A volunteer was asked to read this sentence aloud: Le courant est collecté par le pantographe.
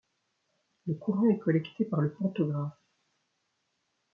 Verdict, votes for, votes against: rejected, 0, 2